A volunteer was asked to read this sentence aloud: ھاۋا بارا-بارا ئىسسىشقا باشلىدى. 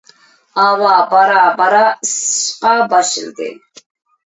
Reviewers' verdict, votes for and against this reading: accepted, 2, 0